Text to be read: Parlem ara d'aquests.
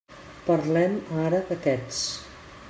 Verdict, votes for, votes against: accepted, 2, 0